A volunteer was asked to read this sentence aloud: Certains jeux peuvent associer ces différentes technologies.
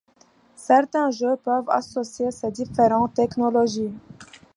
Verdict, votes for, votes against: accepted, 2, 0